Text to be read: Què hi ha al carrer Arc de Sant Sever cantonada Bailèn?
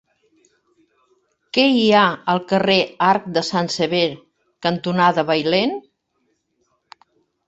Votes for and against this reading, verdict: 1, 2, rejected